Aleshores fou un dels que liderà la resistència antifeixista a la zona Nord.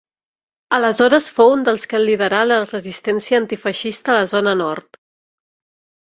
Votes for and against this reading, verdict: 1, 2, rejected